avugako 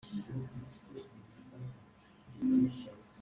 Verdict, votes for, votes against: rejected, 0, 4